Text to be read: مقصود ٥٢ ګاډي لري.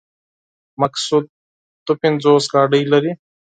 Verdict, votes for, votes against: rejected, 0, 2